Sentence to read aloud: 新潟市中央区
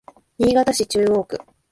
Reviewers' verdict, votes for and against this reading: accepted, 2, 0